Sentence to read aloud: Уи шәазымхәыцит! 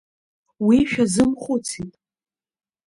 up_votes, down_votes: 2, 0